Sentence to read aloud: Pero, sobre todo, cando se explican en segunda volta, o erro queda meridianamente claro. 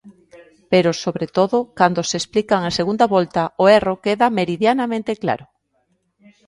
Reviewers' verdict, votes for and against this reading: accepted, 2, 0